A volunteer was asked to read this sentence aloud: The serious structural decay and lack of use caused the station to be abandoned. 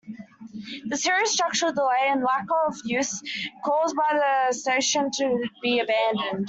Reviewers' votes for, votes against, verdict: 1, 2, rejected